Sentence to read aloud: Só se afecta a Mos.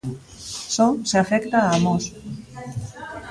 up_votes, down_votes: 2, 0